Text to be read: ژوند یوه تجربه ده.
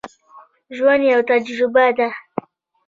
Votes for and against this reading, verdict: 2, 3, rejected